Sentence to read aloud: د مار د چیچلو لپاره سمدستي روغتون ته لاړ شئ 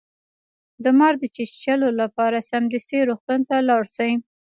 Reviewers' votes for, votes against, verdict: 1, 2, rejected